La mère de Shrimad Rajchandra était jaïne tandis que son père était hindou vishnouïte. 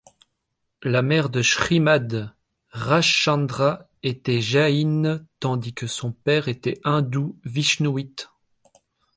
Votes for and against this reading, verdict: 2, 0, accepted